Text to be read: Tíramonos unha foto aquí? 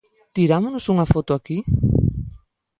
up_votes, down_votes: 2, 0